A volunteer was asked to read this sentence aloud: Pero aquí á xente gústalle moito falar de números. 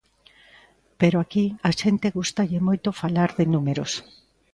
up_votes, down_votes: 2, 0